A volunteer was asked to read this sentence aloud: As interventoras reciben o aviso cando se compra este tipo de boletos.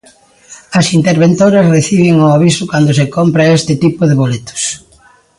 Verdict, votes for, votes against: rejected, 0, 2